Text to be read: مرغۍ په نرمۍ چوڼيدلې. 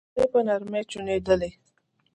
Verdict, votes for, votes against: rejected, 1, 2